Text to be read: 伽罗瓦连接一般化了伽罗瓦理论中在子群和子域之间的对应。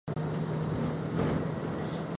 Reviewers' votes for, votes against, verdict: 0, 3, rejected